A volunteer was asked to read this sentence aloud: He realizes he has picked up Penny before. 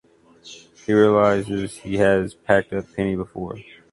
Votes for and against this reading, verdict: 1, 2, rejected